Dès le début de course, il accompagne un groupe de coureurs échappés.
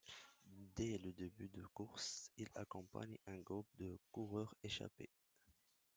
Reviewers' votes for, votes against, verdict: 2, 0, accepted